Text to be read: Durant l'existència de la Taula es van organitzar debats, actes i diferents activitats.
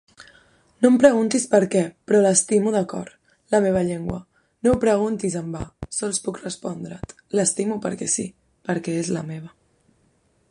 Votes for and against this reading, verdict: 0, 2, rejected